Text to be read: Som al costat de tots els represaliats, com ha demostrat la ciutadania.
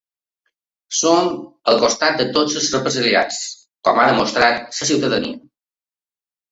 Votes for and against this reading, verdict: 0, 2, rejected